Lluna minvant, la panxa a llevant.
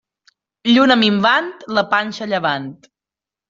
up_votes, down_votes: 2, 0